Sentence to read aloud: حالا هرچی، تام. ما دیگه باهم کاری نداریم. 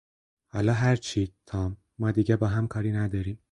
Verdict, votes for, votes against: accepted, 4, 0